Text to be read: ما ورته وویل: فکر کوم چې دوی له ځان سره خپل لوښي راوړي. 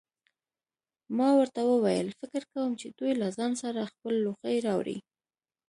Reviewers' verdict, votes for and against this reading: accepted, 2, 0